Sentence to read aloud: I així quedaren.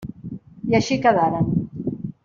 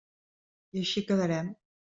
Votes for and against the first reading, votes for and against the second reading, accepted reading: 3, 0, 1, 2, first